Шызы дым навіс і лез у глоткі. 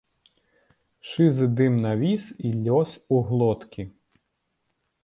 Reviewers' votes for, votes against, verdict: 1, 2, rejected